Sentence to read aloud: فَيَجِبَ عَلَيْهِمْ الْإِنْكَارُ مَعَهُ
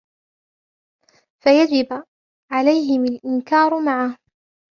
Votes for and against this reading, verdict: 1, 2, rejected